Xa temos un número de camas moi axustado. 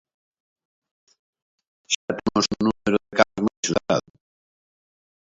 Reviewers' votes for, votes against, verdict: 0, 2, rejected